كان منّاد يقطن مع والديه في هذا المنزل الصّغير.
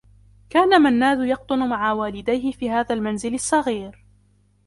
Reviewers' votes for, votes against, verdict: 2, 0, accepted